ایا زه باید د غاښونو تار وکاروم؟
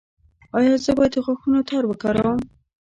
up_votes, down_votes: 2, 0